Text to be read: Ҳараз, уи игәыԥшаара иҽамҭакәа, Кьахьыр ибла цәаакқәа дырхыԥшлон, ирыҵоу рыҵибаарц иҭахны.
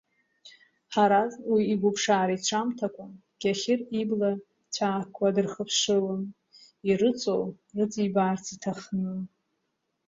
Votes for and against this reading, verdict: 1, 2, rejected